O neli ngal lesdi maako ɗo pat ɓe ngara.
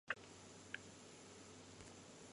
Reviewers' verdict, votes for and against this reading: rejected, 0, 2